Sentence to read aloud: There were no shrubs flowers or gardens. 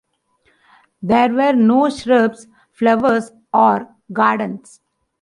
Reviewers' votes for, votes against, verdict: 2, 0, accepted